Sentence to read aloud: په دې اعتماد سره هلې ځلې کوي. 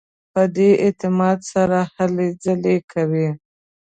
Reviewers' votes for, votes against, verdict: 2, 0, accepted